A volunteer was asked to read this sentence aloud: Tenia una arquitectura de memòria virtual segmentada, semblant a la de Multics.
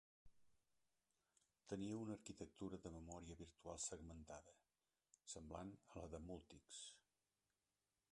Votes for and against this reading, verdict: 1, 2, rejected